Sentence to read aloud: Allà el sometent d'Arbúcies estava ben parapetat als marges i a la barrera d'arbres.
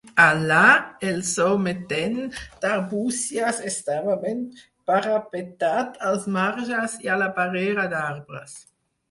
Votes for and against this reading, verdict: 2, 4, rejected